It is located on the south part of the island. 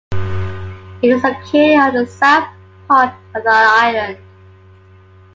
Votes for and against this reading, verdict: 1, 2, rejected